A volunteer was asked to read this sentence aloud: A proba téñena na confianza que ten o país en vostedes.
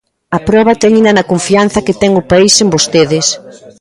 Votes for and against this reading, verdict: 1, 2, rejected